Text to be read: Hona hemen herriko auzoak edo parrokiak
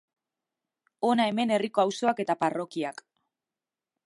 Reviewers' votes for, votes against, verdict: 1, 2, rejected